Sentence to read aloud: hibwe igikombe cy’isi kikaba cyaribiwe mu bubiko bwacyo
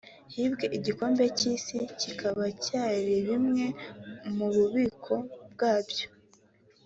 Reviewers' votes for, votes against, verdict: 0, 4, rejected